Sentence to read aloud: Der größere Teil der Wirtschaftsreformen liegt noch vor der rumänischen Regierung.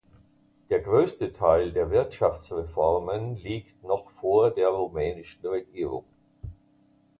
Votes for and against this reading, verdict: 0, 2, rejected